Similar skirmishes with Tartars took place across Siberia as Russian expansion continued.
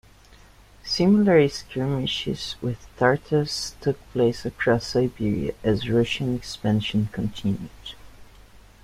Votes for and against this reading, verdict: 2, 0, accepted